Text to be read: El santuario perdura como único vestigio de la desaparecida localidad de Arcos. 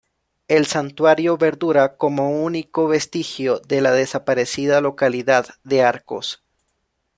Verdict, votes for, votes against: rejected, 1, 2